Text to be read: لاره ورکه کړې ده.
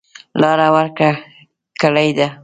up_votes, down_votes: 0, 2